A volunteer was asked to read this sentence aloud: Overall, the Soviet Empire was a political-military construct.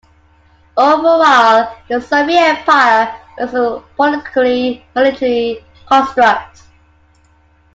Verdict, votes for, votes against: accepted, 2, 1